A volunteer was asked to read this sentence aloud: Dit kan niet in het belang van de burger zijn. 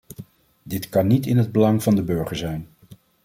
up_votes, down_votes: 2, 0